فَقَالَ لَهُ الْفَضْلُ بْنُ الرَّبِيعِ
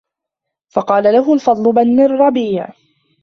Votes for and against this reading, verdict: 1, 2, rejected